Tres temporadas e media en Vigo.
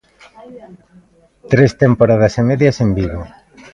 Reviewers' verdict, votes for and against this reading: rejected, 0, 2